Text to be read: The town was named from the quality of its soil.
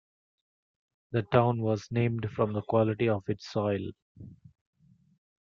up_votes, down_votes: 1, 2